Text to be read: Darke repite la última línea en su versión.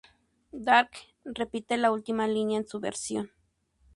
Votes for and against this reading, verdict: 2, 0, accepted